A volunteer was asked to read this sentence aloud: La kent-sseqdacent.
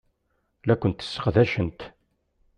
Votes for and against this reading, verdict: 2, 0, accepted